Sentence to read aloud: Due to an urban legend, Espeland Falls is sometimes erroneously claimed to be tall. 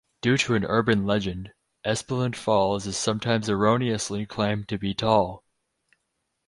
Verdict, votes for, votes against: accepted, 4, 0